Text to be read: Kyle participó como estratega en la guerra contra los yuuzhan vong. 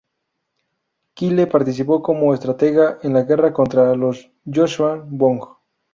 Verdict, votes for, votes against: rejected, 0, 2